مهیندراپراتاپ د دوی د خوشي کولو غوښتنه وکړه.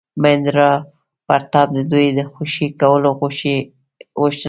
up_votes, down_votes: 1, 2